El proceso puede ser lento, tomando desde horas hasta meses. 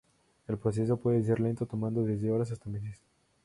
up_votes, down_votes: 2, 0